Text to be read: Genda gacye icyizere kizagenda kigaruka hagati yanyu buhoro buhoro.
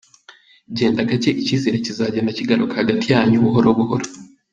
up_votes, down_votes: 3, 0